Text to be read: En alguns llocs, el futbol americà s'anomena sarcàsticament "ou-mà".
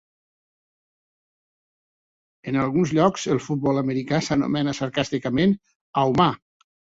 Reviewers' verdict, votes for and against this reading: accepted, 2, 1